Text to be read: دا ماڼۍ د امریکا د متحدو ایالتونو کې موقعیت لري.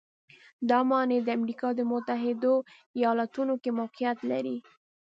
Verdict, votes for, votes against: accepted, 2, 0